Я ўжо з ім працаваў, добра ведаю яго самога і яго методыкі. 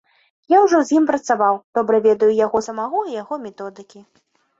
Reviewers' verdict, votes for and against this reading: accepted, 2, 0